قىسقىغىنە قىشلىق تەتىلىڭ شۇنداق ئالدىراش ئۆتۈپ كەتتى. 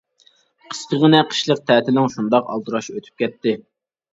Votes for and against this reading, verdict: 2, 0, accepted